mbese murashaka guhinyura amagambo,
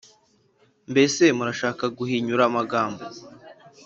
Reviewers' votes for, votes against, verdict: 4, 0, accepted